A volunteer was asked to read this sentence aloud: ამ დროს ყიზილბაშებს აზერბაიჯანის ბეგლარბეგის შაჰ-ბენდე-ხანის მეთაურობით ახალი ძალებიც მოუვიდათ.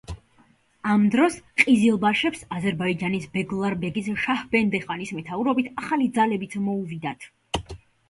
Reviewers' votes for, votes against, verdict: 2, 0, accepted